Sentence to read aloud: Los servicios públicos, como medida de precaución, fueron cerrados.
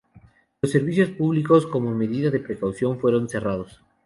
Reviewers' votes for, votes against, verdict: 6, 0, accepted